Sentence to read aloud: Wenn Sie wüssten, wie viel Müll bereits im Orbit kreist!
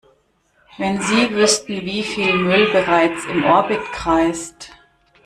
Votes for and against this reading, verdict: 1, 2, rejected